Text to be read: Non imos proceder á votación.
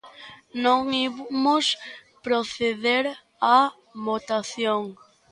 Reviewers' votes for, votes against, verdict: 1, 2, rejected